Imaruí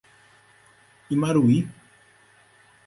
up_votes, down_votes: 4, 0